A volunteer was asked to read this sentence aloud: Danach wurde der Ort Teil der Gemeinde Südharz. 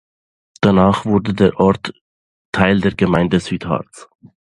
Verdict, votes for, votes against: accepted, 2, 0